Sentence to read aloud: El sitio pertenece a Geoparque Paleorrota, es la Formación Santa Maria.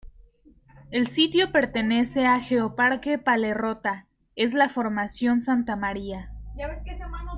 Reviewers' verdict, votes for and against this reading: rejected, 1, 2